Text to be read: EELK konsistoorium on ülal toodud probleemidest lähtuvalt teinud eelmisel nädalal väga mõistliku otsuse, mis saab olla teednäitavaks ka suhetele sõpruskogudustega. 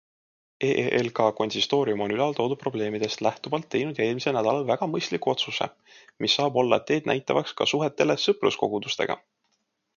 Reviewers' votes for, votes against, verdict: 2, 0, accepted